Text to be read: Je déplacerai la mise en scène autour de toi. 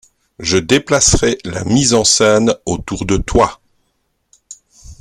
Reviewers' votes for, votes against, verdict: 2, 0, accepted